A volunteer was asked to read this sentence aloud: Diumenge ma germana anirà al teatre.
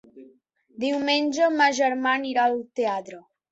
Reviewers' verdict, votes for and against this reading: rejected, 1, 3